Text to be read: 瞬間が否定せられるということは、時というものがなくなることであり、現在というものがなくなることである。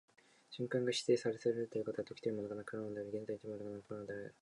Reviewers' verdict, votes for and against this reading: rejected, 0, 2